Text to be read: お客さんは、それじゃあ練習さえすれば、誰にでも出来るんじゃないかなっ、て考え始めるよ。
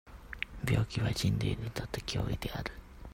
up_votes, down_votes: 0, 2